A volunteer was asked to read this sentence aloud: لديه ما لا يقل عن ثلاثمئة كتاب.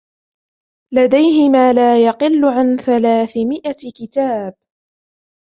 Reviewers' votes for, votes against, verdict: 2, 1, accepted